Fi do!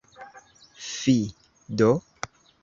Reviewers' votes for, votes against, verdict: 0, 2, rejected